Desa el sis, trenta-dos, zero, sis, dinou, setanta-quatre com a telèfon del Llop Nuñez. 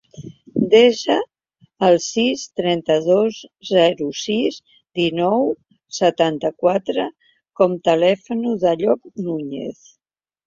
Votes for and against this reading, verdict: 0, 2, rejected